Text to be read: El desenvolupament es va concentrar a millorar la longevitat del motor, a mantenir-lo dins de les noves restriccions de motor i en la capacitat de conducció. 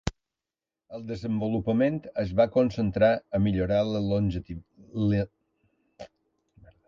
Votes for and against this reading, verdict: 0, 2, rejected